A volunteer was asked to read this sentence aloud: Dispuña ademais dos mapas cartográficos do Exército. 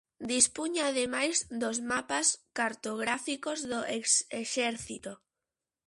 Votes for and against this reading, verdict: 0, 2, rejected